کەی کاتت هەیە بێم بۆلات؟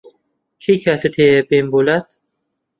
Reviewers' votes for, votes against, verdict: 3, 0, accepted